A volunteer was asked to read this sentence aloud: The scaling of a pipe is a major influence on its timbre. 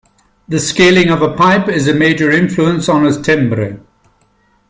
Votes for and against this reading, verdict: 1, 2, rejected